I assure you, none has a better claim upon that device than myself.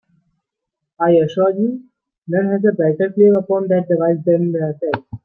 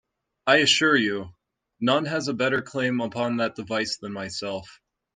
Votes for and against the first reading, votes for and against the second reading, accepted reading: 1, 2, 2, 0, second